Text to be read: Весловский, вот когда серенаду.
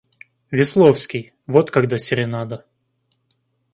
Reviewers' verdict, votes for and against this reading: rejected, 0, 2